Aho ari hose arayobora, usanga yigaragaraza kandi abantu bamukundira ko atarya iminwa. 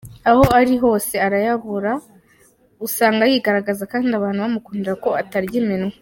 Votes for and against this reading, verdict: 0, 2, rejected